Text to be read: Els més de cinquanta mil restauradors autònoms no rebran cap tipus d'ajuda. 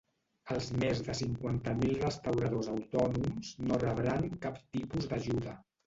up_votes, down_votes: 0, 2